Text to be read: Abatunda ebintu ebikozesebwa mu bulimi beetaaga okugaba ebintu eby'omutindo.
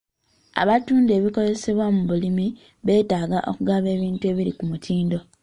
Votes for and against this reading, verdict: 0, 2, rejected